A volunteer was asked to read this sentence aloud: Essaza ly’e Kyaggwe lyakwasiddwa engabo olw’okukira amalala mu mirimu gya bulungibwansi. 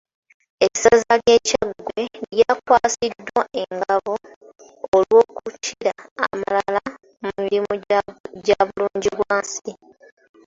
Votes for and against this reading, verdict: 0, 2, rejected